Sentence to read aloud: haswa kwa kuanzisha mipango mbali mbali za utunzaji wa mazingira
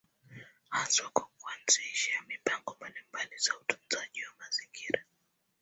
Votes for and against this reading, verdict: 1, 2, rejected